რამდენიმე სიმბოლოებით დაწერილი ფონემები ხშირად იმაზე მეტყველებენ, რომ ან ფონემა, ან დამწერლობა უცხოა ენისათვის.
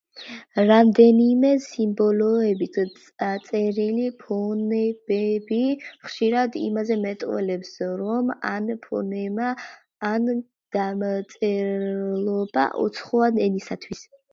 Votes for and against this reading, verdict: 1, 2, rejected